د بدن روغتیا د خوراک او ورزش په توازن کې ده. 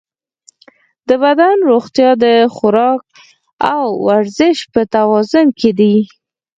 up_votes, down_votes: 2, 4